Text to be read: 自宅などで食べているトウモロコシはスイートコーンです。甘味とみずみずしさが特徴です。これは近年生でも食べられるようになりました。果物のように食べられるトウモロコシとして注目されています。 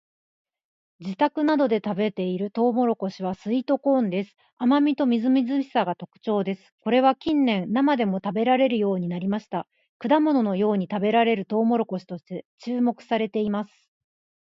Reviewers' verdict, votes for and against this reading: rejected, 0, 2